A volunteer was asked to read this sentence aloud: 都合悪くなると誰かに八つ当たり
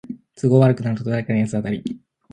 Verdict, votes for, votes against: rejected, 0, 2